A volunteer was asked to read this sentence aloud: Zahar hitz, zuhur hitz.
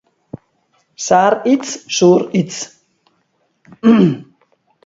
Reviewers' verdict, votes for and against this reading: rejected, 2, 2